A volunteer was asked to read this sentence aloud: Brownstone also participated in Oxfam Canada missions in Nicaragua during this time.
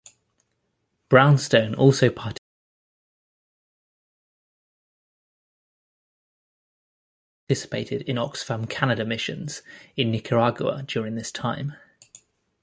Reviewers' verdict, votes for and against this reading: rejected, 1, 2